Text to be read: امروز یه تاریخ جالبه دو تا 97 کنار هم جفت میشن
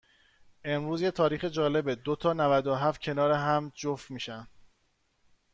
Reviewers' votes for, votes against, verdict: 0, 2, rejected